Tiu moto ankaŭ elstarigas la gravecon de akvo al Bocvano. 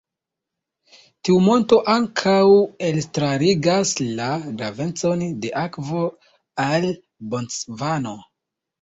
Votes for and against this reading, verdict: 0, 2, rejected